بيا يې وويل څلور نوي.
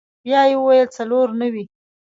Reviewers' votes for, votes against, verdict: 2, 1, accepted